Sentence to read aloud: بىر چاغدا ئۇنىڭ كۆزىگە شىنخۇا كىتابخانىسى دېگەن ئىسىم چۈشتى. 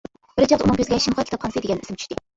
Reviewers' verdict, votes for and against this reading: rejected, 0, 2